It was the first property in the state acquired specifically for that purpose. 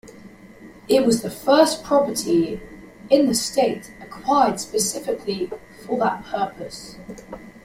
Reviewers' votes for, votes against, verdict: 2, 0, accepted